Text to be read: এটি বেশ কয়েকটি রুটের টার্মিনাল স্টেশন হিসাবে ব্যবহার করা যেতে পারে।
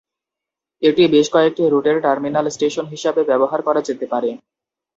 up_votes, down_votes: 0, 2